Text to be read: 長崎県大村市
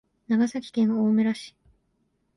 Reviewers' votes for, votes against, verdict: 2, 0, accepted